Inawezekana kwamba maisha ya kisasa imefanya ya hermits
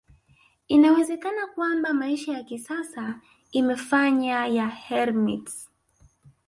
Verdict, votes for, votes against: rejected, 1, 2